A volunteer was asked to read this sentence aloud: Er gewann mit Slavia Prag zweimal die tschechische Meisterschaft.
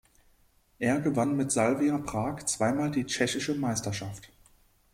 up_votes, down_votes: 1, 2